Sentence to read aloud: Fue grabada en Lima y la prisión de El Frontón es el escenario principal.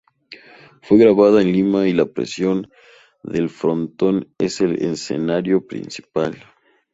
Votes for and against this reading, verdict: 2, 0, accepted